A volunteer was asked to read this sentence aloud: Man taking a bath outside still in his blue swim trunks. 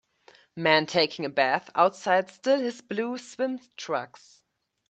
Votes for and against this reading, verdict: 1, 2, rejected